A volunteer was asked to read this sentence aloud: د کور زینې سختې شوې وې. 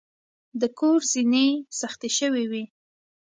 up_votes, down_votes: 3, 0